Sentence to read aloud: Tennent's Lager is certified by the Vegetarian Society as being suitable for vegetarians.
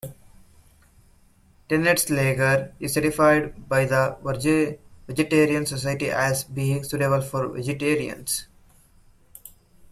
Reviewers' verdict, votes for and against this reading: rejected, 0, 2